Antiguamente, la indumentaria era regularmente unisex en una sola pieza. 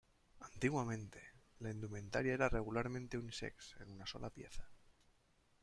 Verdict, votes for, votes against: accepted, 2, 1